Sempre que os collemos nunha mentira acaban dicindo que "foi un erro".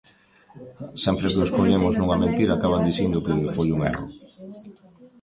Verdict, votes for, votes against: rejected, 1, 2